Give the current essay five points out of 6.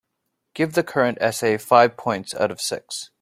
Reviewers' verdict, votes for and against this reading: rejected, 0, 2